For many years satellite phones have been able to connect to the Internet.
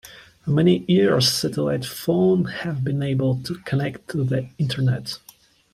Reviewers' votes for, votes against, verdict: 1, 2, rejected